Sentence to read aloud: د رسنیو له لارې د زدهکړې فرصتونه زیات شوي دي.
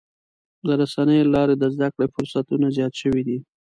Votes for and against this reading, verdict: 2, 0, accepted